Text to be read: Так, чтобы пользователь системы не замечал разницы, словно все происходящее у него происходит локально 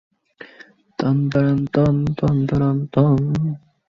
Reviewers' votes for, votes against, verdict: 0, 2, rejected